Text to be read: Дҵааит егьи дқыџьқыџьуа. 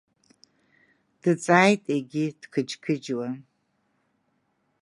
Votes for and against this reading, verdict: 2, 0, accepted